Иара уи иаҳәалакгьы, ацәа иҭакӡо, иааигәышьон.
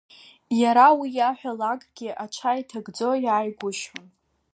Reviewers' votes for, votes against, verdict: 0, 2, rejected